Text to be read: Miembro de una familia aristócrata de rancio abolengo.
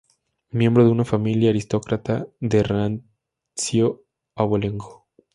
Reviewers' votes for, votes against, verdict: 2, 0, accepted